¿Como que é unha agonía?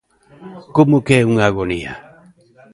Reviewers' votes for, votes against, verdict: 2, 1, accepted